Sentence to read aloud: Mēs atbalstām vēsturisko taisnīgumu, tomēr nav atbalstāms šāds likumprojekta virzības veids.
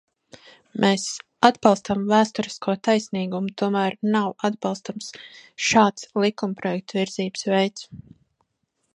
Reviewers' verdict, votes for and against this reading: rejected, 0, 2